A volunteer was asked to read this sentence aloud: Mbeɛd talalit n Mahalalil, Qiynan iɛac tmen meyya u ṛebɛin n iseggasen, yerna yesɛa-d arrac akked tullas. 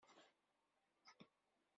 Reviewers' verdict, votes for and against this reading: rejected, 0, 2